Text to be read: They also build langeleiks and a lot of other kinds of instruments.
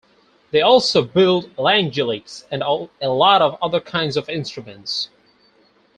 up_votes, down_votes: 4, 0